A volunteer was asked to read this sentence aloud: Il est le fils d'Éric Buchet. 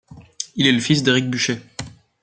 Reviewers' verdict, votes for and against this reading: accepted, 2, 1